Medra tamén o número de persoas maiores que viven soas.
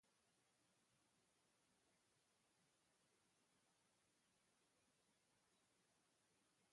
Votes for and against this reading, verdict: 0, 2, rejected